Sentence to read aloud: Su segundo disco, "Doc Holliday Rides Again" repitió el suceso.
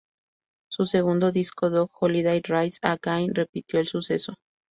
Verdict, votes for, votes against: rejected, 0, 2